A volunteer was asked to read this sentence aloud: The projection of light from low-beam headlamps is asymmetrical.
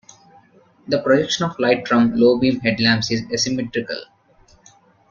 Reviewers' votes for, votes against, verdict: 2, 0, accepted